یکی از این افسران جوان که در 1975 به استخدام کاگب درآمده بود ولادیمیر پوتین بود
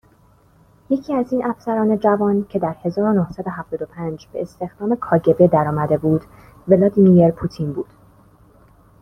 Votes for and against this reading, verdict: 0, 2, rejected